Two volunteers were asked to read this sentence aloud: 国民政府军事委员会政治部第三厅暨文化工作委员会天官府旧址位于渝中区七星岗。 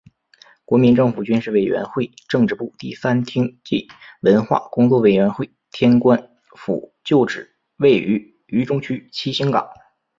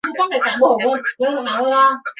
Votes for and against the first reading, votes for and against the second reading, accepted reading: 2, 1, 0, 4, first